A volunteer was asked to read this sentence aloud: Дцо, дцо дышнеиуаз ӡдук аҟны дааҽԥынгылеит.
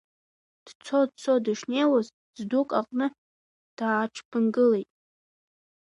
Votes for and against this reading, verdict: 2, 0, accepted